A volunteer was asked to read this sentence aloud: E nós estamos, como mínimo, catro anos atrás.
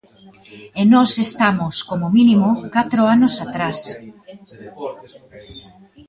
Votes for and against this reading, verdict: 0, 2, rejected